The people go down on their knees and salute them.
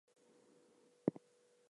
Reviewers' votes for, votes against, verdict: 0, 2, rejected